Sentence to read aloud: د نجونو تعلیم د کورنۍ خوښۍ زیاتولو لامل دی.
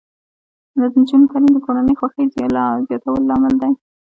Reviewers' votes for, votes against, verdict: 0, 2, rejected